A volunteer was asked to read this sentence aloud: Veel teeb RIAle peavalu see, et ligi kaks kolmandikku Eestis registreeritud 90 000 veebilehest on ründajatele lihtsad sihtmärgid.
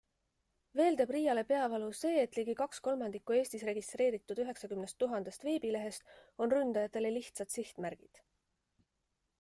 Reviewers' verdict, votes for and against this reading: rejected, 0, 2